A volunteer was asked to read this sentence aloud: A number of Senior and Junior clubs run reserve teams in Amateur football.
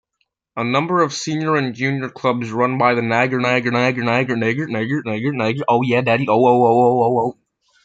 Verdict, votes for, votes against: rejected, 0, 2